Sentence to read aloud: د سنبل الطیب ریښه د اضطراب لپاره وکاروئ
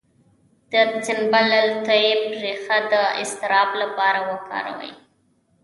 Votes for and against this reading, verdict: 1, 2, rejected